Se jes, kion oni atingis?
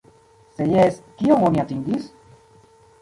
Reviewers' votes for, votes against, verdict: 1, 2, rejected